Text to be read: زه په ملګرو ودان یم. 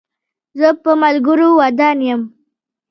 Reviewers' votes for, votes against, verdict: 2, 0, accepted